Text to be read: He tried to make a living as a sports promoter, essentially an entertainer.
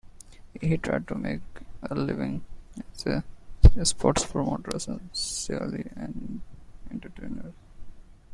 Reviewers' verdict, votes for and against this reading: rejected, 0, 2